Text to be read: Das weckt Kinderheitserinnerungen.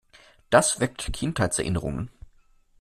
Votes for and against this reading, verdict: 2, 0, accepted